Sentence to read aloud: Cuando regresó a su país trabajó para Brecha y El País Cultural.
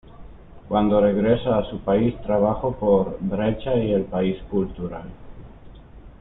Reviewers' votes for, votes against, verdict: 1, 2, rejected